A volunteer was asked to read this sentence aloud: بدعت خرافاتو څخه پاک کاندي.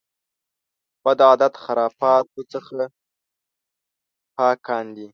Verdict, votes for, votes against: rejected, 0, 2